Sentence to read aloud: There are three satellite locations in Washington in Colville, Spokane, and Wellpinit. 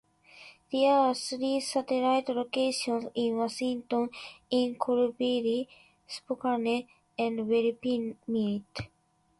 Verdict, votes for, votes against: accepted, 2, 1